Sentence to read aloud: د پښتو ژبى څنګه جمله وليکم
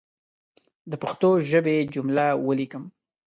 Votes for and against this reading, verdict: 1, 2, rejected